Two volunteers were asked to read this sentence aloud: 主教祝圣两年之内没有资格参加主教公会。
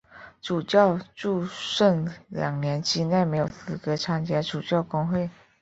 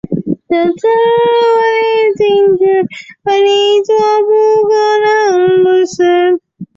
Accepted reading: first